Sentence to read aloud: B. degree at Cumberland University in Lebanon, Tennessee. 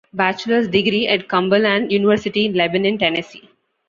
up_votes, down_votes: 1, 2